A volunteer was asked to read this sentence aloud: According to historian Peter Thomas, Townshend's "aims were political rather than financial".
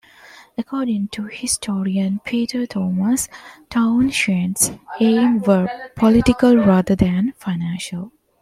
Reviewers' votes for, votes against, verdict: 0, 2, rejected